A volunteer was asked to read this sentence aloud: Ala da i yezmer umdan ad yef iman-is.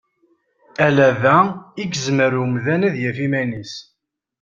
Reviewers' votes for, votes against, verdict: 2, 0, accepted